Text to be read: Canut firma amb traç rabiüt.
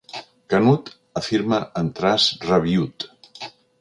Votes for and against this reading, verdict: 1, 4, rejected